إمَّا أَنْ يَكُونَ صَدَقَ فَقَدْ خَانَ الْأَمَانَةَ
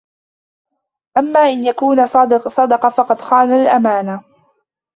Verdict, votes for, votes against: rejected, 0, 2